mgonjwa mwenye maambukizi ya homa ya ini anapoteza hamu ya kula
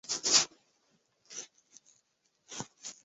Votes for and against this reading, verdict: 0, 2, rejected